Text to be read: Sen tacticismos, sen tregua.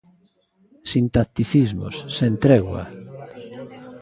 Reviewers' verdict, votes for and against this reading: rejected, 0, 2